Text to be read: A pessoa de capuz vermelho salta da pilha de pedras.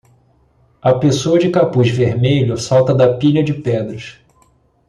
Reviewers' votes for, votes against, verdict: 2, 0, accepted